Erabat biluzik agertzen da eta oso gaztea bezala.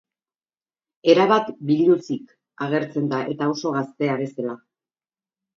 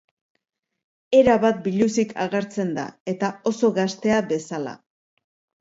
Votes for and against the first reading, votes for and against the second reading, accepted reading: 2, 2, 2, 0, second